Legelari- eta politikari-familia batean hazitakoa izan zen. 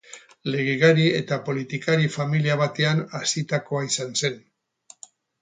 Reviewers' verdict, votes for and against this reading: rejected, 2, 2